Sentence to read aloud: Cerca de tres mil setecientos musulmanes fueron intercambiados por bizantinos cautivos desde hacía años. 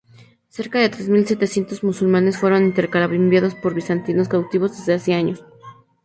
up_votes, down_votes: 0, 2